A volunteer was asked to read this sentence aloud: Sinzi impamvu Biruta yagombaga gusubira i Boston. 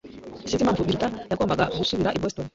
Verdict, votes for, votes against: rejected, 0, 2